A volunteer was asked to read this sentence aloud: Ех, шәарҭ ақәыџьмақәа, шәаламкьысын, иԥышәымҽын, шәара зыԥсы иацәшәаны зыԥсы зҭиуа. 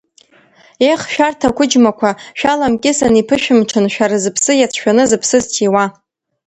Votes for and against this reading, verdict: 2, 1, accepted